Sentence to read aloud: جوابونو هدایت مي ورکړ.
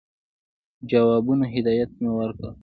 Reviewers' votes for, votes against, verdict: 1, 2, rejected